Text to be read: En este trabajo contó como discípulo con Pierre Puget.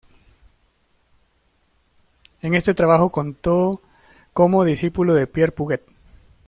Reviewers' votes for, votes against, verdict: 0, 2, rejected